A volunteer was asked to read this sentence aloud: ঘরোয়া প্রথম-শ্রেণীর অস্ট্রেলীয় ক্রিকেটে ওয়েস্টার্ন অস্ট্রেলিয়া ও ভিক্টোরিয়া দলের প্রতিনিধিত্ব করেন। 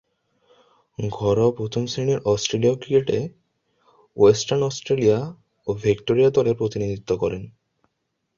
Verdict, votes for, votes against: rejected, 0, 2